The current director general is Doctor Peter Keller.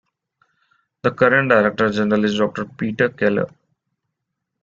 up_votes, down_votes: 2, 1